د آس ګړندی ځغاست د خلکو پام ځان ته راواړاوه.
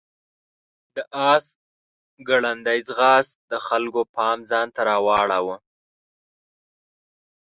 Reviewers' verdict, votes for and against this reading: accepted, 6, 0